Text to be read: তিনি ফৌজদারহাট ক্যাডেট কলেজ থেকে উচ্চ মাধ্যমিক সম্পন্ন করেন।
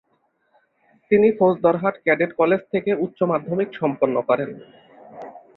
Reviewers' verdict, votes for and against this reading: accepted, 6, 0